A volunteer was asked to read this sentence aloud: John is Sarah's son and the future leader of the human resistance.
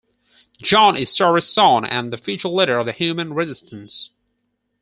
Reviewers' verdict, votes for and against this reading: rejected, 2, 4